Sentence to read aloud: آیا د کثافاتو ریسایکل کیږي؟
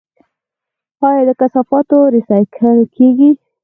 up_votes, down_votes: 2, 4